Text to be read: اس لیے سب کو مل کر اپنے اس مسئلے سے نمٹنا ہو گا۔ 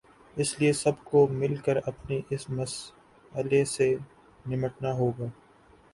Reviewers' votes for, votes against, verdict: 2, 1, accepted